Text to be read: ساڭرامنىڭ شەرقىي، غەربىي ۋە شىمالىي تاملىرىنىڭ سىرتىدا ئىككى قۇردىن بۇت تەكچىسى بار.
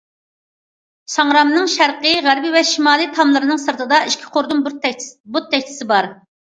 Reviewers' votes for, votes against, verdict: 0, 2, rejected